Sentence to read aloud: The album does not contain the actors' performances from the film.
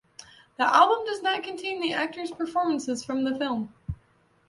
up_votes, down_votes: 2, 0